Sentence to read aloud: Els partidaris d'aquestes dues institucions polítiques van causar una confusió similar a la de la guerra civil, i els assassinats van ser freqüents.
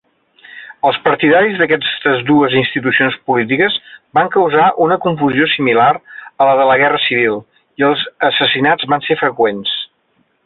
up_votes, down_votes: 1, 2